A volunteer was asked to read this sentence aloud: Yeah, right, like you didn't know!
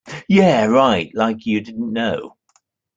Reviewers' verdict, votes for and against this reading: accepted, 2, 0